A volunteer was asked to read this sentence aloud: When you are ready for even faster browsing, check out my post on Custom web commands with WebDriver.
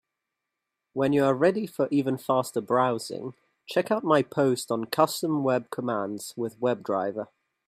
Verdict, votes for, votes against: accepted, 4, 0